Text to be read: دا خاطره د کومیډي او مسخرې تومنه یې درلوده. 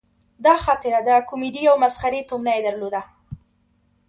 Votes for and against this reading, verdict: 0, 2, rejected